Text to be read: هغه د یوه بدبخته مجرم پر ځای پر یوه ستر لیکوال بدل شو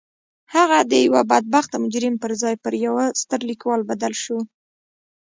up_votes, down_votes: 1, 2